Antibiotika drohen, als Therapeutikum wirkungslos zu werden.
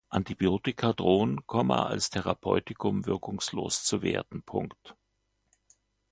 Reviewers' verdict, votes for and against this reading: accepted, 2, 0